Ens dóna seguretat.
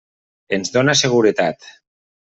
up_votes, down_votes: 3, 0